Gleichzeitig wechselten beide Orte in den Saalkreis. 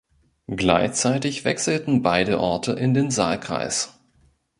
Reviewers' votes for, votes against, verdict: 2, 1, accepted